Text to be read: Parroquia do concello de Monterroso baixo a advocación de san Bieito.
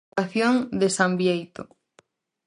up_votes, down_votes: 0, 4